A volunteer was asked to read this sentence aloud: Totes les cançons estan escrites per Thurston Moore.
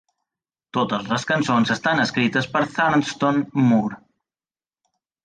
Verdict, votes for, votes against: accepted, 2, 0